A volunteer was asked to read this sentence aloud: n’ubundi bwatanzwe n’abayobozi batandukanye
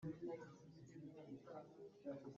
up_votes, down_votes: 0, 2